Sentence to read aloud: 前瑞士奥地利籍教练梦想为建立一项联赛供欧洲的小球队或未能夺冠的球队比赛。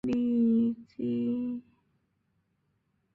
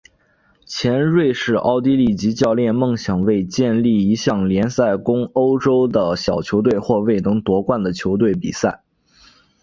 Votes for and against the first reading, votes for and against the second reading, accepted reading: 1, 2, 2, 0, second